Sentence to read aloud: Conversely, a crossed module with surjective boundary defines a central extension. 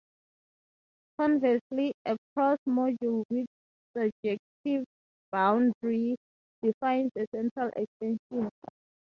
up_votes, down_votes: 2, 0